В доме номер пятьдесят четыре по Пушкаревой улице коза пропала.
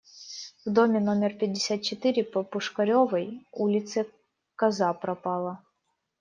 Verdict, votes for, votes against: rejected, 0, 2